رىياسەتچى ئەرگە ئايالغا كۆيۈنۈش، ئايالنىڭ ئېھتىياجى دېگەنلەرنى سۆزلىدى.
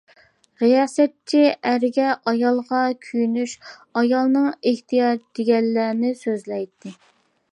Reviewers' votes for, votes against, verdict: 0, 2, rejected